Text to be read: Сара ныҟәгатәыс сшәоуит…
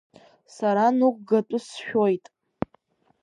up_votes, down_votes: 1, 3